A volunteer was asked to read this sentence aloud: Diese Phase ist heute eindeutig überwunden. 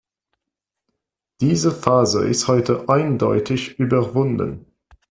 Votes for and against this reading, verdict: 2, 0, accepted